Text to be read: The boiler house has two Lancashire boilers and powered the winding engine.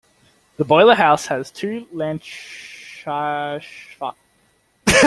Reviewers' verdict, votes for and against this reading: rejected, 1, 2